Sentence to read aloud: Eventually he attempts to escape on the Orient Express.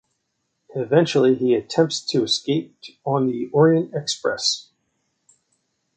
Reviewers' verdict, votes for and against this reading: rejected, 1, 2